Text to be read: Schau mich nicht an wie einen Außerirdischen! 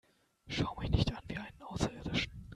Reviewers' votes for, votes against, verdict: 2, 0, accepted